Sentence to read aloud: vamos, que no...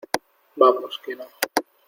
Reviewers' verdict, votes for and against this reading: accepted, 2, 0